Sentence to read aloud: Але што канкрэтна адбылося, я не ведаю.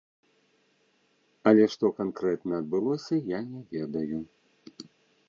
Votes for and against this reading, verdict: 0, 2, rejected